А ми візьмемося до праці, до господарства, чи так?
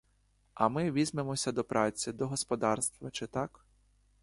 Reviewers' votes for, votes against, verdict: 2, 0, accepted